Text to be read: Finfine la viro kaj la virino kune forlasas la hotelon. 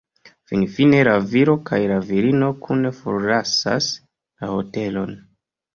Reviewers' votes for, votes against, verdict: 2, 0, accepted